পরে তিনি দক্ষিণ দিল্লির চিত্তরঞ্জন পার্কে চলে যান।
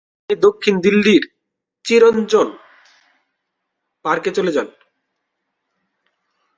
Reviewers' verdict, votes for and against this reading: rejected, 0, 2